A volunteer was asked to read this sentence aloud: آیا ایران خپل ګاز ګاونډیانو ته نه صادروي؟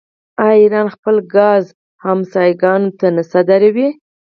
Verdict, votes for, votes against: accepted, 4, 0